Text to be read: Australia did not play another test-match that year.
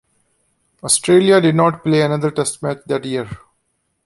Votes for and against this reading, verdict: 1, 2, rejected